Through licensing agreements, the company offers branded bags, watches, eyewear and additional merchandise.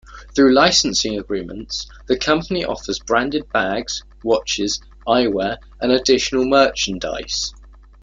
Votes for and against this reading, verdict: 2, 0, accepted